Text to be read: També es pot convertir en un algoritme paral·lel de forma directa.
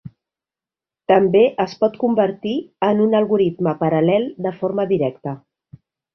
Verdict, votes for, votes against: accepted, 3, 0